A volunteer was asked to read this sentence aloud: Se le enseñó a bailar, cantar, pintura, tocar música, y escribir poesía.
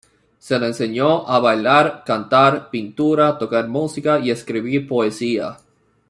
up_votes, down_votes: 2, 0